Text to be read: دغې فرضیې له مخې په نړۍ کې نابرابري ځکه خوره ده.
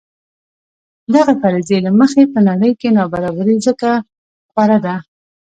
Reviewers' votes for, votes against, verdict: 2, 1, accepted